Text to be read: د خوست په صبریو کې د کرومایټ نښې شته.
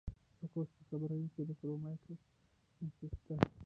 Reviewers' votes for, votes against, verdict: 0, 3, rejected